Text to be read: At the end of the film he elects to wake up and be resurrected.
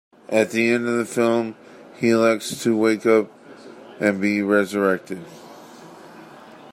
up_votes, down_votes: 1, 2